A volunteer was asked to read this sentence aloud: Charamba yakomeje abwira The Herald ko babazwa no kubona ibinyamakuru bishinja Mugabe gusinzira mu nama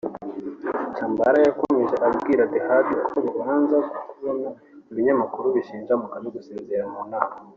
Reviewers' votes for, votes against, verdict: 0, 3, rejected